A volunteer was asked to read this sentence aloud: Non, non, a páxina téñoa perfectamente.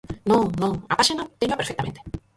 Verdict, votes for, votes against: rejected, 0, 4